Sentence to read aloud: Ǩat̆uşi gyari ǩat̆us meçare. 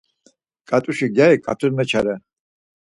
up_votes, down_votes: 4, 0